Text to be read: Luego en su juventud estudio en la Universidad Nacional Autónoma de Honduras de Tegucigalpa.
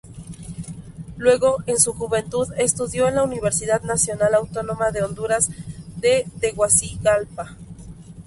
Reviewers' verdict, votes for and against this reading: accepted, 2, 0